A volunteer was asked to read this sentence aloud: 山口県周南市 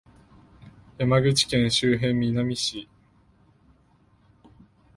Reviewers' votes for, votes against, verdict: 0, 2, rejected